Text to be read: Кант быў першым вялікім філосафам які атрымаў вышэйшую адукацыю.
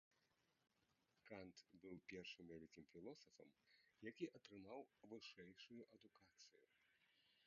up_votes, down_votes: 1, 2